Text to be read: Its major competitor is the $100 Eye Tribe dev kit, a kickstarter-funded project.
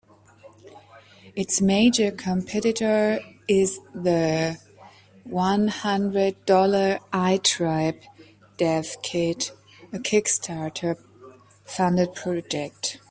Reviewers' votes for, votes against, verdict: 0, 2, rejected